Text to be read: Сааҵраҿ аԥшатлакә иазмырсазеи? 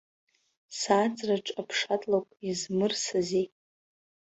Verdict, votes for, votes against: rejected, 0, 2